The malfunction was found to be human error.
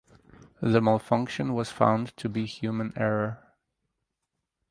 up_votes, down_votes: 4, 0